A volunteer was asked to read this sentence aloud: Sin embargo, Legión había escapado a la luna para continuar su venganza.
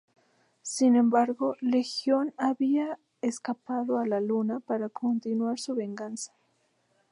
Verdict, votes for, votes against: accepted, 2, 0